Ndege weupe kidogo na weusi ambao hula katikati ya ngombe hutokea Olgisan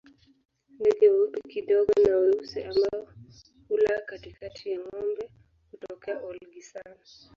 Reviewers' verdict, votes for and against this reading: accepted, 2, 1